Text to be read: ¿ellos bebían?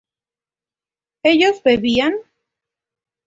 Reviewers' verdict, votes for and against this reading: accepted, 2, 0